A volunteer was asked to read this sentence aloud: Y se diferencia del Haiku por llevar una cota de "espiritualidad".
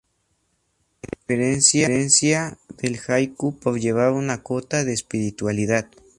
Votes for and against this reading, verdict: 2, 0, accepted